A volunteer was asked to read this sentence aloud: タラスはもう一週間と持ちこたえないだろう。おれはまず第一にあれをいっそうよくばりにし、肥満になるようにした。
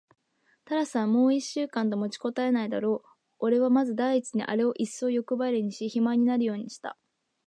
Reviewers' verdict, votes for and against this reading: accepted, 5, 0